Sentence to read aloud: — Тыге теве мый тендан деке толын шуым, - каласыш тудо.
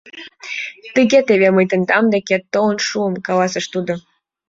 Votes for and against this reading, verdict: 2, 0, accepted